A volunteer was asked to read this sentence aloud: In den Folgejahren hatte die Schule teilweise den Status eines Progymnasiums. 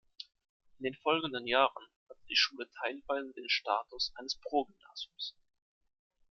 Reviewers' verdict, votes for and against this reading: rejected, 0, 2